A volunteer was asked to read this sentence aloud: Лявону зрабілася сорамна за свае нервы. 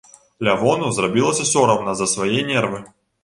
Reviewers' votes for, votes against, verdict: 2, 0, accepted